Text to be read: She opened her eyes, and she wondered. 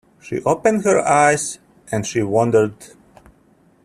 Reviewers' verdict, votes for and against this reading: accepted, 2, 0